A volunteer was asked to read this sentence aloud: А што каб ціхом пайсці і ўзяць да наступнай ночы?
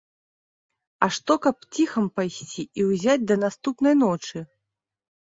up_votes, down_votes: 0, 2